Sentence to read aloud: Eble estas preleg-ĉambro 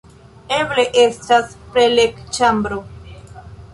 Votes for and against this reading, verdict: 2, 1, accepted